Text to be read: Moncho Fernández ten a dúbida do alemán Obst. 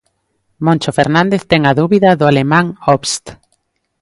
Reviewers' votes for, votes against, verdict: 2, 0, accepted